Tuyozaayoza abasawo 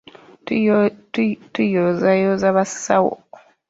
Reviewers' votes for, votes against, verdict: 1, 2, rejected